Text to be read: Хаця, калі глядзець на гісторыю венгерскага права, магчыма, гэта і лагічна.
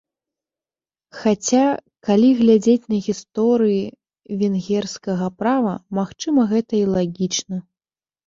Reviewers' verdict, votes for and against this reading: rejected, 0, 2